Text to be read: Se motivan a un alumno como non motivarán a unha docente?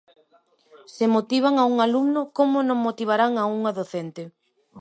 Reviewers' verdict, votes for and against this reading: accepted, 2, 0